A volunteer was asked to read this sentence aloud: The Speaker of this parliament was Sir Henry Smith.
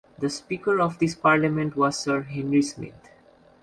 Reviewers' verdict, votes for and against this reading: accepted, 2, 0